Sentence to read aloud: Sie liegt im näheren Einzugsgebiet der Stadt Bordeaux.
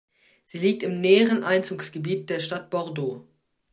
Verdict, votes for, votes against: accepted, 2, 0